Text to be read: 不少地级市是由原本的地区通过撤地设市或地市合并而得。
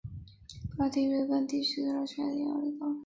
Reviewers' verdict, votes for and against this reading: rejected, 2, 7